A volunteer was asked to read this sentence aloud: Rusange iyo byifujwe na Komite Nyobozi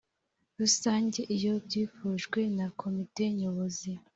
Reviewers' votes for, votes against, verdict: 3, 0, accepted